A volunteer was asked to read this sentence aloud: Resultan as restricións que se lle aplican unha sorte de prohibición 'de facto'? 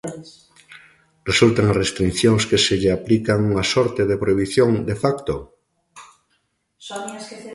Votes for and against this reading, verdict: 2, 1, accepted